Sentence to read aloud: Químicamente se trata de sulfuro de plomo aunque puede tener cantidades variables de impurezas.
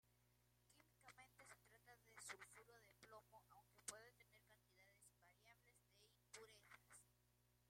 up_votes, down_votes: 0, 2